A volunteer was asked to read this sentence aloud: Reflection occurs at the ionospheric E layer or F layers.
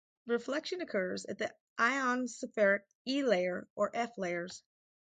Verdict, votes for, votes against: rejected, 2, 2